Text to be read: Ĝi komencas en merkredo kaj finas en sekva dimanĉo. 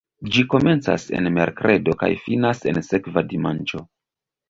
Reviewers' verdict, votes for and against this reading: accepted, 2, 0